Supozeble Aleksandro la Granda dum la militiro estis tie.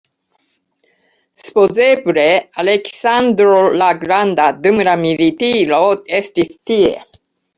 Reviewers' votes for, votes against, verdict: 0, 2, rejected